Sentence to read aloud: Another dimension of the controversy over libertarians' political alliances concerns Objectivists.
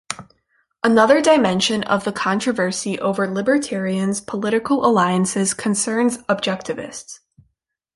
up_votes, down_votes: 2, 0